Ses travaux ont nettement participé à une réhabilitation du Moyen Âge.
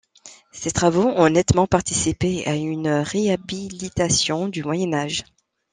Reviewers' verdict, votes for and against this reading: accepted, 2, 1